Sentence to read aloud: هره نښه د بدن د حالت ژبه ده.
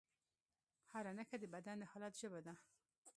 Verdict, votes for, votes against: rejected, 1, 2